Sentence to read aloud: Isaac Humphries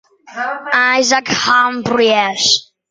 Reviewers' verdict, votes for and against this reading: rejected, 1, 2